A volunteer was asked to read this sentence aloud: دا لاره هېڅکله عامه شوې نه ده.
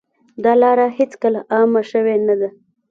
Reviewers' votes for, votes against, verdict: 2, 1, accepted